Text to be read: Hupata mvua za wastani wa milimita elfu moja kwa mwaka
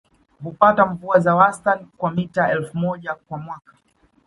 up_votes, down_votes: 2, 0